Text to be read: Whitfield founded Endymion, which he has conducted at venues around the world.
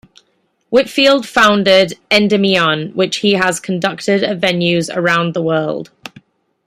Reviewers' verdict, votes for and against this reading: accepted, 2, 0